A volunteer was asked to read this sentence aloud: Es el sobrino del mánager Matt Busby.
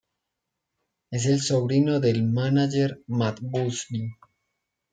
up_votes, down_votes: 1, 2